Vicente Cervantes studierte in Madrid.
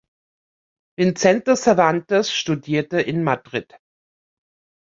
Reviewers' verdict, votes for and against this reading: rejected, 0, 2